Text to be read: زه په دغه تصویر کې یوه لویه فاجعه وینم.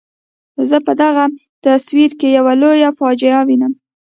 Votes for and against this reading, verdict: 0, 2, rejected